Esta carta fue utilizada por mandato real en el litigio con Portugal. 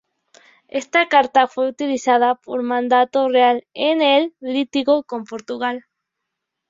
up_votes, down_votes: 0, 2